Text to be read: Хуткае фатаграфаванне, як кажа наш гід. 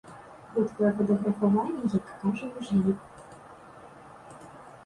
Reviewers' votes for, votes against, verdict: 1, 2, rejected